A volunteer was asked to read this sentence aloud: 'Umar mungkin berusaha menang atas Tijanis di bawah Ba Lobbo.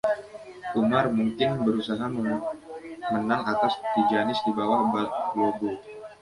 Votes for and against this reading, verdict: 1, 2, rejected